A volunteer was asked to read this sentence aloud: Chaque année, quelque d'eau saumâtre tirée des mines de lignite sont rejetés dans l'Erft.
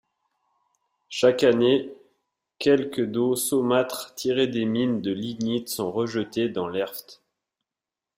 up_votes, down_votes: 2, 0